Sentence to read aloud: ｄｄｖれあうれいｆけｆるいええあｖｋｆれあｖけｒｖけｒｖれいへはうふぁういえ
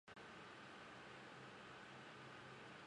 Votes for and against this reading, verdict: 0, 2, rejected